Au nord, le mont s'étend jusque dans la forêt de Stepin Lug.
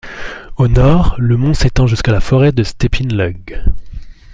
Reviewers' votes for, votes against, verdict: 2, 0, accepted